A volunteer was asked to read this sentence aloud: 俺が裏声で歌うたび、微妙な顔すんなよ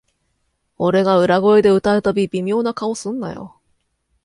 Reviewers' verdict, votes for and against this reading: accepted, 2, 0